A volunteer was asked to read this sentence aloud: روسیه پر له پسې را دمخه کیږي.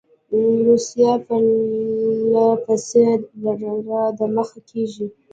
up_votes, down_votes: 1, 2